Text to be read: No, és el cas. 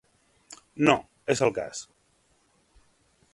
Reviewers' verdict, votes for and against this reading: accepted, 2, 1